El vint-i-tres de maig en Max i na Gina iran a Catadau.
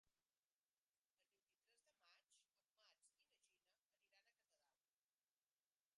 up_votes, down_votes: 0, 2